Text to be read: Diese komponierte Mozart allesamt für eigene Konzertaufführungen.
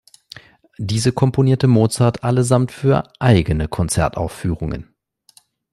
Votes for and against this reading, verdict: 2, 0, accepted